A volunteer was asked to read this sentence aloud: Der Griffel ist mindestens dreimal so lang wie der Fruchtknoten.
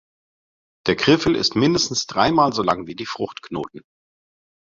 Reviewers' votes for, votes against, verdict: 0, 2, rejected